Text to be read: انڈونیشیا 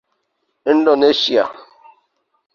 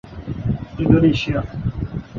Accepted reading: second